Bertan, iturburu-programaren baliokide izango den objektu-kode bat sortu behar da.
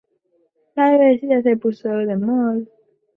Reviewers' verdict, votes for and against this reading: rejected, 0, 2